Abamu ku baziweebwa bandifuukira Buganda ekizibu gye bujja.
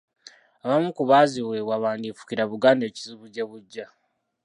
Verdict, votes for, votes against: rejected, 0, 2